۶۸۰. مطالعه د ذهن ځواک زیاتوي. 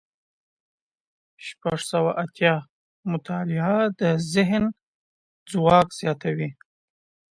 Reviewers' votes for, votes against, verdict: 0, 2, rejected